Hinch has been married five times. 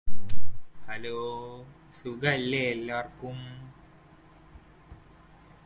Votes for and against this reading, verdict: 1, 2, rejected